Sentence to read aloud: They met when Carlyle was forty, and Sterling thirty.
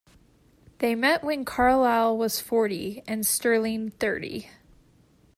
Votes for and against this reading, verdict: 2, 0, accepted